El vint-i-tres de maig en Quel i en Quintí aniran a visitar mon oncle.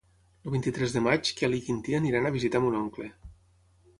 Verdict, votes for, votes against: rejected, 0, 6